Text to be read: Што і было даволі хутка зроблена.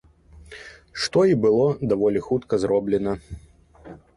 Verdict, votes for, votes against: accepted, 2, 0